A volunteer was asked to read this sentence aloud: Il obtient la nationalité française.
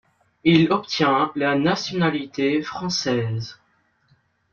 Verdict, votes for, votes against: accepted, 2, 0